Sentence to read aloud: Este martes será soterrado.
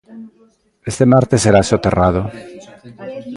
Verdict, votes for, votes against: rejected, 0, 2